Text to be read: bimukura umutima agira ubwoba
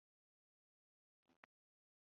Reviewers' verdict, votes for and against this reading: rejected, 0, 2